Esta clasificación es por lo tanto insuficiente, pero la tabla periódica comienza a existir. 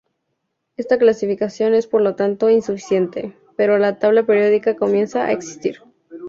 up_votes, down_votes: 4, 0